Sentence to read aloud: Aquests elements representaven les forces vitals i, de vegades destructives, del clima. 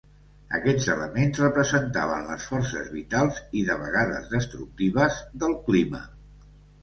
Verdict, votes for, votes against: accepted, 2, 0